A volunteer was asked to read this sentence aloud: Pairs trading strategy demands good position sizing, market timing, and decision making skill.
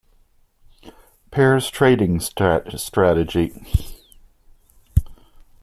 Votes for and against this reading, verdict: 0, 2, rejected